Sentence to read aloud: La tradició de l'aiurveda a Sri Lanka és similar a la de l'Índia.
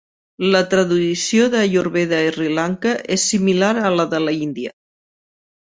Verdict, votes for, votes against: rejected, 1, 2